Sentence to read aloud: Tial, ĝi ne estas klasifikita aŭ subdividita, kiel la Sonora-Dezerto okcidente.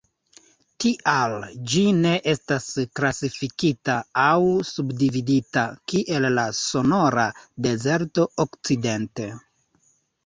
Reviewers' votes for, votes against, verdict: 0, 2, rejected